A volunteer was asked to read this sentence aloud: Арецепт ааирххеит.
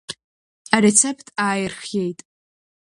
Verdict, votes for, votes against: rejected, 0, 2